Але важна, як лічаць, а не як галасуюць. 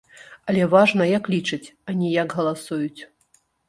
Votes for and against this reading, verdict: 0, 2, rejected